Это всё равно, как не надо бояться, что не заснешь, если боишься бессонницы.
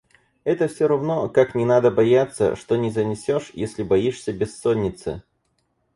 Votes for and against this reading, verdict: 0, 4, rejected